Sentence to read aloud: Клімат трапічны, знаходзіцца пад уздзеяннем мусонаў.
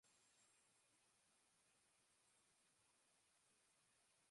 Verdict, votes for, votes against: rejected, 0, 2